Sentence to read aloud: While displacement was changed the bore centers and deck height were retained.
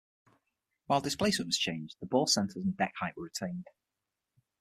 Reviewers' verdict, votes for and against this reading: rejected, 0, 6